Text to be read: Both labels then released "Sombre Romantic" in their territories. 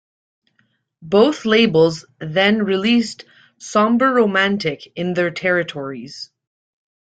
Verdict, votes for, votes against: rejected, 1, 2